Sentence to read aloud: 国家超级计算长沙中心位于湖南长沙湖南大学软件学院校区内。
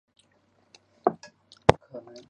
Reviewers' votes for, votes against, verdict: 1, 4, rejected